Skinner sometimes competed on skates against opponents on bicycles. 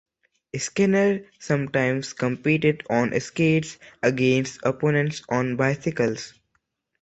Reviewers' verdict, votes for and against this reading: accepted, 3, 0